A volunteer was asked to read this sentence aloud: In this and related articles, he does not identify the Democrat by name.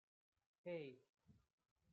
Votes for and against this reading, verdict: 0, 2, rejected